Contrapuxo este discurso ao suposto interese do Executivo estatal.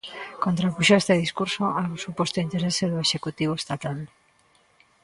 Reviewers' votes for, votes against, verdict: 0, 7, rejected